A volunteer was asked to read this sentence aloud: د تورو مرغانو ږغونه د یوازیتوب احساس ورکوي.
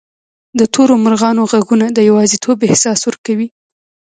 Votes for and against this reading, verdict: 1, 2, rejected